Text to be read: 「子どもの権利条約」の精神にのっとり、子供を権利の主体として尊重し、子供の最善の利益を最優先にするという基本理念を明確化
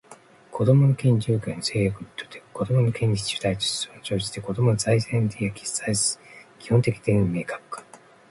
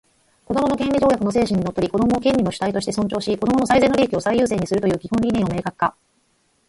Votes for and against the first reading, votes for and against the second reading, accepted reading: 1, 2, 4, 0, second